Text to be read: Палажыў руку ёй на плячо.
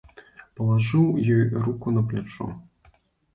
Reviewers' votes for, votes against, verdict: 0, 2, rejected